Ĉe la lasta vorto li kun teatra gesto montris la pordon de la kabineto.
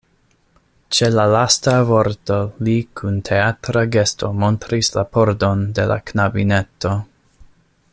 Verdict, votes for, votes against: rejected, 0, 2